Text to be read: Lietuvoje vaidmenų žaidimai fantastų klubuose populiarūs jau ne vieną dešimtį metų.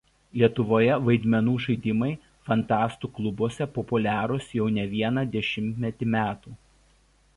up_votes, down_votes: 0, 2